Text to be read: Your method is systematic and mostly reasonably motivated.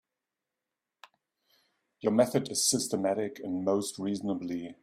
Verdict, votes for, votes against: rejected, 0, 3